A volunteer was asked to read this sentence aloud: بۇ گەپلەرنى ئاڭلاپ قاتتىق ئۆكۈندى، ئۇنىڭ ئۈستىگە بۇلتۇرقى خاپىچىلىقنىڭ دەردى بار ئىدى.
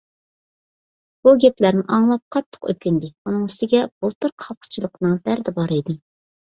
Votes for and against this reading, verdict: 2, 0, accepted